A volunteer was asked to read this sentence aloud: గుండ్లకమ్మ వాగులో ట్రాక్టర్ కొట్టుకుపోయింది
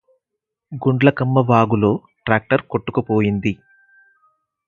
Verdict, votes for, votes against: accepted, 4, 0